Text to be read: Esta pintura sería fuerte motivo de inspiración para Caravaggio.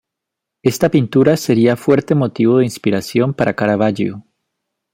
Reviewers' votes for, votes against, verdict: 3, 0, accepted